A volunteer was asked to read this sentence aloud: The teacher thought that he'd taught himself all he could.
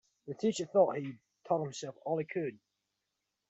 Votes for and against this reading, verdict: 1, 2, rejected